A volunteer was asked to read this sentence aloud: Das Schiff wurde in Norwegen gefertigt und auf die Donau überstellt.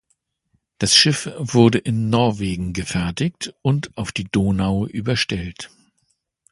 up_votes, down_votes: 2, 0